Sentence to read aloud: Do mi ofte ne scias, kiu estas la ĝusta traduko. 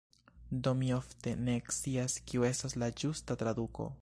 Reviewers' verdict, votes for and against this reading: accepted, 2, 0